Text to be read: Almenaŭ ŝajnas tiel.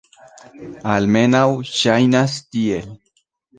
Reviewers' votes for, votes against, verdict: 2, 1, accepted